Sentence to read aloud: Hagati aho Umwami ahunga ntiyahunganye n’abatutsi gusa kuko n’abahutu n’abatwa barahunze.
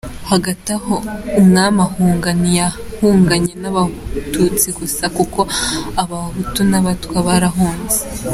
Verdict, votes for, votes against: accepted, 2, 1